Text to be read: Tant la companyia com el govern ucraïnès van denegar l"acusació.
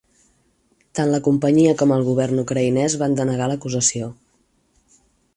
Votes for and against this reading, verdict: 4, 0, accepted